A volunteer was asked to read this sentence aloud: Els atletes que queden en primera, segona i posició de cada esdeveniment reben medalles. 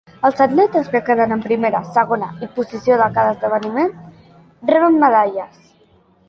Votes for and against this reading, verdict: 2, 0, accepted